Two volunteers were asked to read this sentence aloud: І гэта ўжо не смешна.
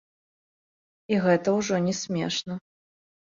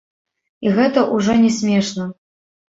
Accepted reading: first